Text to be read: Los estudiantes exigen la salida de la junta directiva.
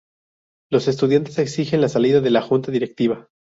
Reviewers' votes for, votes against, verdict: 4, 0, accepted